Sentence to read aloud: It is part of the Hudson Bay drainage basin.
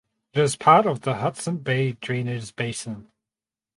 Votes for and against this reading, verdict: 2, 4, rejected